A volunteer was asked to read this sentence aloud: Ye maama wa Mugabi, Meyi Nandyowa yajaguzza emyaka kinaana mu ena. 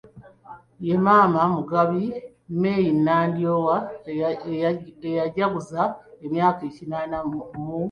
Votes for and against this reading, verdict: 1, 2, rejected